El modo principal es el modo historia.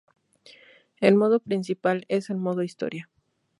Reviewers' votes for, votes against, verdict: 2, 0, accepted